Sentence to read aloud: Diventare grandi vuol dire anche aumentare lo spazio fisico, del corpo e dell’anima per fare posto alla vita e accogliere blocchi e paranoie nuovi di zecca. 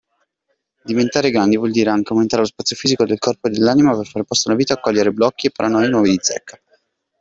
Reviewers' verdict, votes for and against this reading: accepted, 2, 1